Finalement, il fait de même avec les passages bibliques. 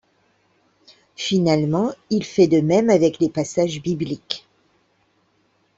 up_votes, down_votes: 2, 0